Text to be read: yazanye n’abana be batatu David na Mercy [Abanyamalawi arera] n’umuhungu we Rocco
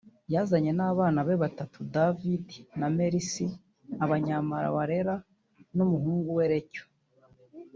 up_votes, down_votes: 1, 2